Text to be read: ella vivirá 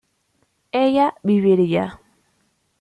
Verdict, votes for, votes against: rejected, 0, 2